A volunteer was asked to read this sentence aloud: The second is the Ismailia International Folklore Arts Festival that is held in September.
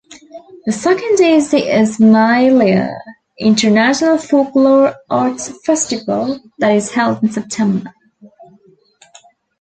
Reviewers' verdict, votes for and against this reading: accepted, 2, 0